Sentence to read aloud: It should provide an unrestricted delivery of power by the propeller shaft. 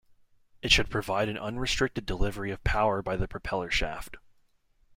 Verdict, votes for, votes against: accepted, 2, 0